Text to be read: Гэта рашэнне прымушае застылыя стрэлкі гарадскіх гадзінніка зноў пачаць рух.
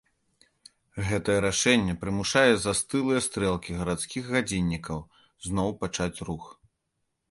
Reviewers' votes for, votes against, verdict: 1, 2, rejected